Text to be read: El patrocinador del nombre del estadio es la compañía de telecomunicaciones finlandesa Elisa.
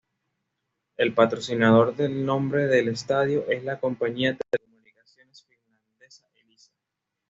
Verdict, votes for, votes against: rejected, 1, 2